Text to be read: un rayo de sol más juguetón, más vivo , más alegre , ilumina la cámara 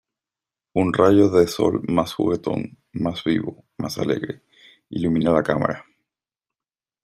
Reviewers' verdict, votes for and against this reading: accepted, 2, 0